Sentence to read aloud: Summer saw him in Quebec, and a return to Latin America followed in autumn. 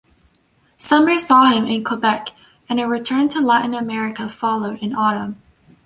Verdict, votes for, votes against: accepted, 2, 0